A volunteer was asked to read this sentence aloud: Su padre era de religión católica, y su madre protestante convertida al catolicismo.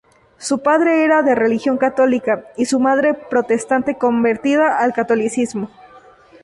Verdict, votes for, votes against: rejected, 0, 2